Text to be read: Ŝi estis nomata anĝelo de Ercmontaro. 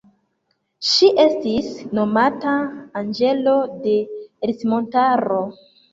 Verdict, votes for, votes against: accepted, 2, 0